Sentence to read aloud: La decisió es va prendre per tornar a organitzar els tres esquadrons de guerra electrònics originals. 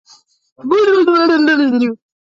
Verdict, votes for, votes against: rejected, 0, 3